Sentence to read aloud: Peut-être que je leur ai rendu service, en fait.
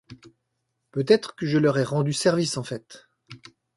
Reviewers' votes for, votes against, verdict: 2, 0, accepted